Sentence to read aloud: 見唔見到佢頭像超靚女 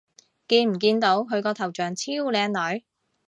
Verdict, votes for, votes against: rejected, 0, 3